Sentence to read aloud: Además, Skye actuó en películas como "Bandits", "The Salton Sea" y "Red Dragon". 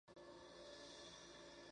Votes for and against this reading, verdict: 0, 2, rejected